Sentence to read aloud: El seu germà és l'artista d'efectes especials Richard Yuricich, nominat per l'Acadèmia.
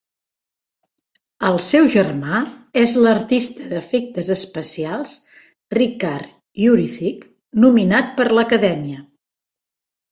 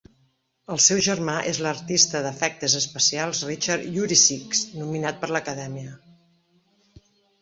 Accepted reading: second